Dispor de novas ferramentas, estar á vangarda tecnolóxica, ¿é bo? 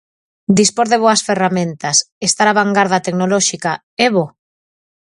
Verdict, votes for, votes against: rejected, 0, 4